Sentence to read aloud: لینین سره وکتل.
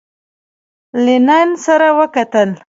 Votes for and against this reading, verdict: 0, 2, rejected